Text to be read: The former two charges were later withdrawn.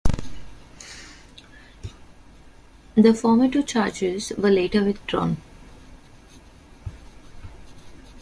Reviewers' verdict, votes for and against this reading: rejected, 1, 3